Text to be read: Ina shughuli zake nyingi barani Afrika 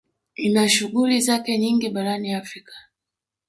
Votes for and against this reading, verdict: 4, 1, accepted